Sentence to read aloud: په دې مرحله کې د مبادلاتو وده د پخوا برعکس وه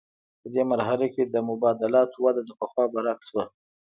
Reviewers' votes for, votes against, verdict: 1, 2, rejected